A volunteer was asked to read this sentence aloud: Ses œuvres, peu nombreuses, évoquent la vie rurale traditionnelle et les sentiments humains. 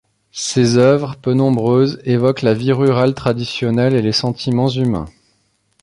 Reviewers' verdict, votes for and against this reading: accepted, 2, 0